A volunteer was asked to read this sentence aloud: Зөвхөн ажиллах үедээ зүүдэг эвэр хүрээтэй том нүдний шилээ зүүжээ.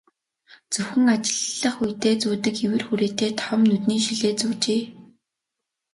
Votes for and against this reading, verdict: 2, 1, accepted